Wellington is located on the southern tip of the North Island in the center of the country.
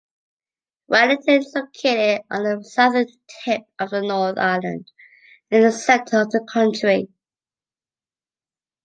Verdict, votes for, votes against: accepted, 2, 0